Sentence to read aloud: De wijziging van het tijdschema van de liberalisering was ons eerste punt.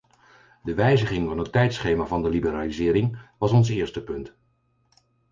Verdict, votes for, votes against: accepted, 4, 0